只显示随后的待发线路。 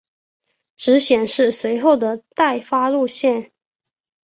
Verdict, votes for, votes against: accepted, 3, 0